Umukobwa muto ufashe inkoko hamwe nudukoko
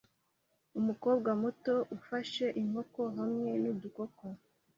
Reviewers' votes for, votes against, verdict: 2, 0, accepted